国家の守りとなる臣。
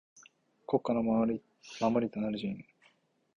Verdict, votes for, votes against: accepted, 2, 1